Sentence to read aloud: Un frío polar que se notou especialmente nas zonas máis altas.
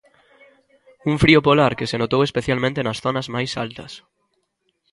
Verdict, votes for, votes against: accepted, 2, 0